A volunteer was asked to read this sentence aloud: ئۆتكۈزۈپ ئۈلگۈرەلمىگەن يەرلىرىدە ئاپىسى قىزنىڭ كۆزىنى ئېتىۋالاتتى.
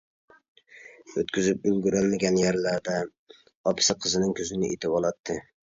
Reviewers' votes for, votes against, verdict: 0, 2, rejected